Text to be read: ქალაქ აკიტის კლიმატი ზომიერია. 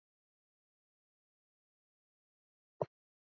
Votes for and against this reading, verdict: 0, 2, rejected